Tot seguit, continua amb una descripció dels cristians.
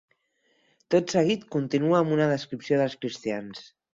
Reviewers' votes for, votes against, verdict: 8, 0, accepted